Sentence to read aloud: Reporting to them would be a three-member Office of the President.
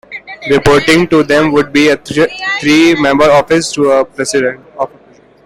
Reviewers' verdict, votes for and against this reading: rejected, 0, 2